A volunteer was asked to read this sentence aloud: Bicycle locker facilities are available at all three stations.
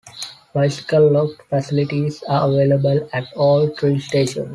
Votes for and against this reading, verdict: 1, 2, rejected